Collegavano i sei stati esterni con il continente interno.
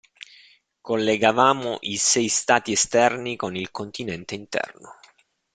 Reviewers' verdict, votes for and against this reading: rejected, 0, 2